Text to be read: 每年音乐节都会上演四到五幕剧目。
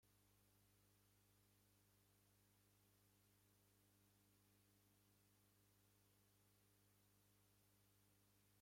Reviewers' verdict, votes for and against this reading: rejected, 0, 2